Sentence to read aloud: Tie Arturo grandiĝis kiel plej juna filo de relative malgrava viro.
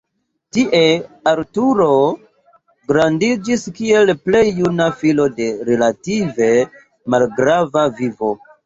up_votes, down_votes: 1, 4